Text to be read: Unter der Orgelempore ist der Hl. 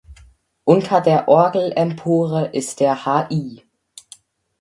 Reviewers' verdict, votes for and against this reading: rejected, 0, 4